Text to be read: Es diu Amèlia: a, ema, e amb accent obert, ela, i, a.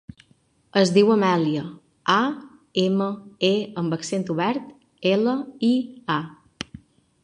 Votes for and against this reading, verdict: 6, 0, accepted